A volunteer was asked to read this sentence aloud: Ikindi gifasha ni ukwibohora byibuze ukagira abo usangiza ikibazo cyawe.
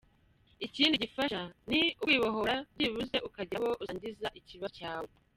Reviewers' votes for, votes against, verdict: 0, 2, rejected